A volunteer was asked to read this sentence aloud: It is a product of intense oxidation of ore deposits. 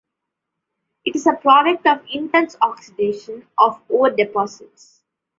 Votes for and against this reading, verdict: 2, 0, accepted